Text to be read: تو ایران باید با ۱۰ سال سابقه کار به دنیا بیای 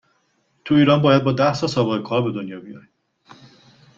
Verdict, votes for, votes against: rejected, 0, 2